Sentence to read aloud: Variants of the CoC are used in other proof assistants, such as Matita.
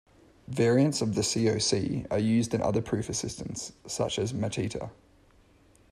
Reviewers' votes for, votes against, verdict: 2, 0, accepted